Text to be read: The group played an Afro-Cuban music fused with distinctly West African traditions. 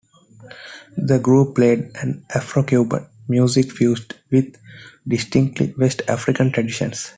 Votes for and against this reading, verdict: 2, 0, accepted